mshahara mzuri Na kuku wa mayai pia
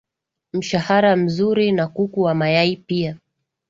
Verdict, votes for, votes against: accepted, 5, 1